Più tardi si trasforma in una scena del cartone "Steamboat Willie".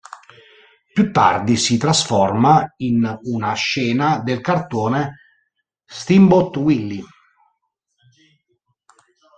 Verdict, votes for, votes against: accepted, 2, 0